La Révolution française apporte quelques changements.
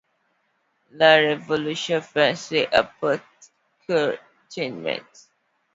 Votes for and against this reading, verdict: 2, 1, accepted